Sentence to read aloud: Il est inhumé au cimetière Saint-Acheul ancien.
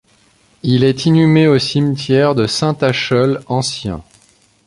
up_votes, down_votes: 1, 2